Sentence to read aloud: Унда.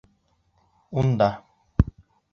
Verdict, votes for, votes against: accepted, 2, 0